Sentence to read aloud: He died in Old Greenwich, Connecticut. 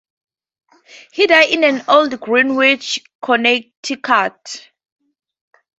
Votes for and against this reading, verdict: 0, 4, rejected